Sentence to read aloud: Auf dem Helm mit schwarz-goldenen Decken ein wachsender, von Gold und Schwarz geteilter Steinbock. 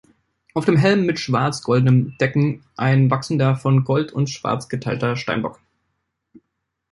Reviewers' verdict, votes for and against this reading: rejected, 1, 2